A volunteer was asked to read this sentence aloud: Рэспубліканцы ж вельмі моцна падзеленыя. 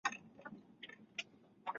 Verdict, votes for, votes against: rejected, 0, 2